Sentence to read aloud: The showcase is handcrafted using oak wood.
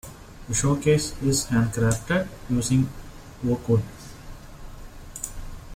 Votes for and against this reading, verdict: 2, 0, accepted